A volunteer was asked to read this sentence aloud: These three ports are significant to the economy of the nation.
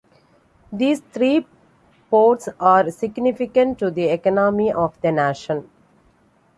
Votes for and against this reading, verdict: 2, 1, accepted